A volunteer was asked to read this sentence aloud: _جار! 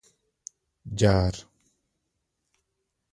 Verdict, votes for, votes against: rejected, 1, 2